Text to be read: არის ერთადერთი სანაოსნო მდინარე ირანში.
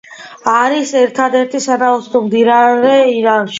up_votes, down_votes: 2, 1